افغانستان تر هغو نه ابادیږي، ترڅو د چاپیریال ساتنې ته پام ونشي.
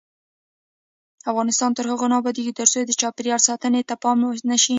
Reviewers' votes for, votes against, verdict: 1, 2, rejected